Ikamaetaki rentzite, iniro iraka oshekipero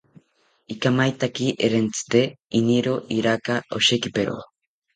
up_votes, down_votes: 2, 0